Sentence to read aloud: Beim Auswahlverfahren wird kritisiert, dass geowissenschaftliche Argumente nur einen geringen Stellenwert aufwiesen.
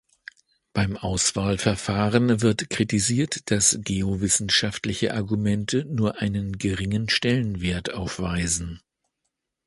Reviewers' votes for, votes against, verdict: 1, 2, rejected